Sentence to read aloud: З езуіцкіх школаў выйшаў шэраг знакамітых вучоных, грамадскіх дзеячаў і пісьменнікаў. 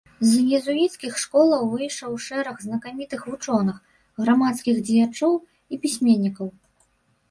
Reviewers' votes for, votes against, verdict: 2, 1, accepted